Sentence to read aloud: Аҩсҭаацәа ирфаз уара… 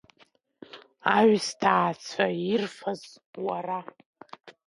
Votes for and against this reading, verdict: 2, 1, accepted